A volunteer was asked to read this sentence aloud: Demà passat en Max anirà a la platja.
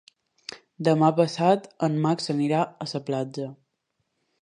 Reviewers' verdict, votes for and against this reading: rejected, 1, 2